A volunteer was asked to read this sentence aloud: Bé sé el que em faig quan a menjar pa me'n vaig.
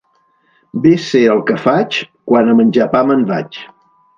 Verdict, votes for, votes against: rejected, 0, 2